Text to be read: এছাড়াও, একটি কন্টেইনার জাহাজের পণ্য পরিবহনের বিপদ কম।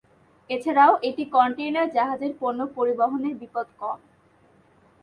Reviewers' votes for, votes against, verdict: 2, 0, accepted